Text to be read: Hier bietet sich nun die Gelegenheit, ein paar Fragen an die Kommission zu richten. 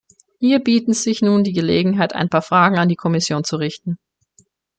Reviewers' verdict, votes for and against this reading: rejected, 0, 2